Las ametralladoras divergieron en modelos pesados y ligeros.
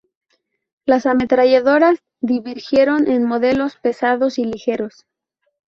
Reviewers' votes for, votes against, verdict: 0, 2, rejected